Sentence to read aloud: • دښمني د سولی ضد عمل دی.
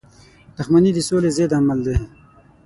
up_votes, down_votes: 6, 3